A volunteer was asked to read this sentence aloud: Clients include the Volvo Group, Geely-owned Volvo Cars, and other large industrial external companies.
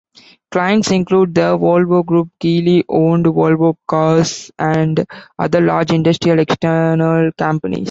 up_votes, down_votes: 2, 1